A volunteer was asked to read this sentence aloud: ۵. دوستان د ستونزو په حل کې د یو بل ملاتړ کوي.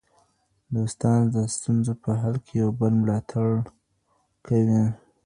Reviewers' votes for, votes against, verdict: 0, 2, rejected